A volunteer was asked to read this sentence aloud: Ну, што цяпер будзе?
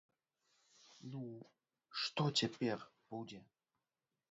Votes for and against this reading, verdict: 0, 2, rejected